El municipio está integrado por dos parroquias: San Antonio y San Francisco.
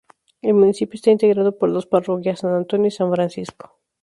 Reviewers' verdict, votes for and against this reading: rejected, 2, 2